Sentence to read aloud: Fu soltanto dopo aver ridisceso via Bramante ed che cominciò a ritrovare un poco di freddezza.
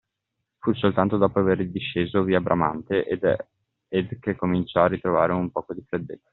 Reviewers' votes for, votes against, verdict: 0, 2, rejected